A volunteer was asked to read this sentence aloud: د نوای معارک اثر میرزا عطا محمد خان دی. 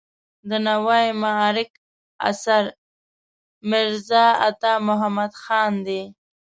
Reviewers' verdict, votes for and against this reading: rejected, 0, 2